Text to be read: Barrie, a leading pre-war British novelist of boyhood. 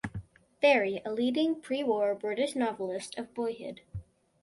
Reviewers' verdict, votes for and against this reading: rejected, 0, 2